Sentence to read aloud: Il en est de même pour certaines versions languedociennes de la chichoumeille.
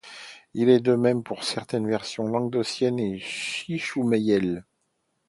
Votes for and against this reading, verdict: 0, 2, rejected